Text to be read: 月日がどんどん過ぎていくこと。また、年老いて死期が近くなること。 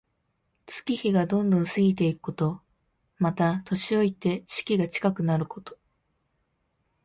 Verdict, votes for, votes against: rejected, 0, 2